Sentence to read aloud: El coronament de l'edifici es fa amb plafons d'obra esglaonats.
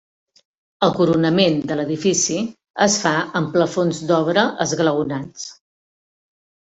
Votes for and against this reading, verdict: 3, 0, accepted